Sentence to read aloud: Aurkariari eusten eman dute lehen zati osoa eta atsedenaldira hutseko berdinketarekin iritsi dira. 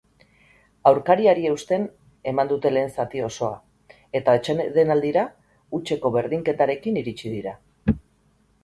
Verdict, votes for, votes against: accepted, 4, 0